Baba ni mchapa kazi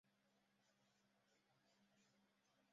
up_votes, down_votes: 0, 2